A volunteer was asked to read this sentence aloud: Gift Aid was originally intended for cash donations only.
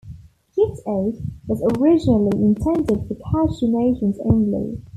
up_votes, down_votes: 2, 0